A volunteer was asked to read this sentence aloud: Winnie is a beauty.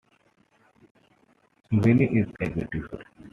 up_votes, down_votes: 0, 2